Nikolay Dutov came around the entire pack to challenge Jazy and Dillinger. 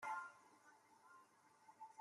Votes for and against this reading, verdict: 0, 2, rejected